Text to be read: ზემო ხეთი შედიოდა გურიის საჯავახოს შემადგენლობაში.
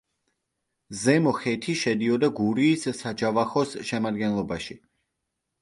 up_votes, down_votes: 2, 0